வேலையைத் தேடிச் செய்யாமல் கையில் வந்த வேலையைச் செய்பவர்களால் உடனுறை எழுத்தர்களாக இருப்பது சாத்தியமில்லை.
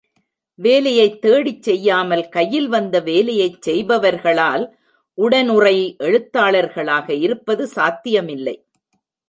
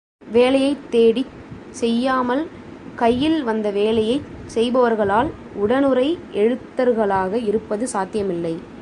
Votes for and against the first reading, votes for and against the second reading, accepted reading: 1, 2, 2, 0, second